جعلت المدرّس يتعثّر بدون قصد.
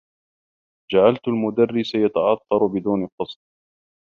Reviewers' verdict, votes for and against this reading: accepted, 2, 1